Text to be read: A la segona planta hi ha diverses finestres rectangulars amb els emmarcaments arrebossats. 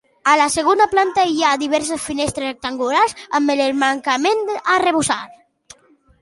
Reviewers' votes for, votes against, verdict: 0, 2, rejected